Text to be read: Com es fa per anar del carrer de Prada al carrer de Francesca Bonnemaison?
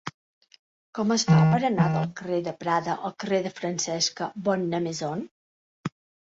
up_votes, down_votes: 2, 5